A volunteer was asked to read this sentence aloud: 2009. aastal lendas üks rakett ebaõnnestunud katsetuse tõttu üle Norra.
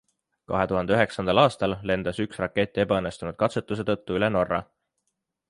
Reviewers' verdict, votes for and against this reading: rejected, 0, 2